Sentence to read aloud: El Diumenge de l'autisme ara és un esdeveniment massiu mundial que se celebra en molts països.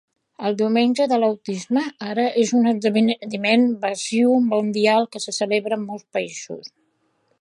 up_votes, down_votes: 0, 2